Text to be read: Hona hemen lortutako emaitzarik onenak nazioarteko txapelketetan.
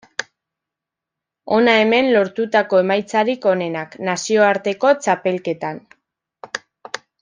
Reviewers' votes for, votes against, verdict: 1, 2, rejected